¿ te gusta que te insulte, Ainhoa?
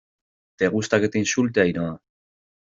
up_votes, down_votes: 2, 0